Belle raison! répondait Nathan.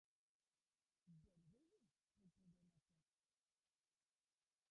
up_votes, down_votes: 0, 2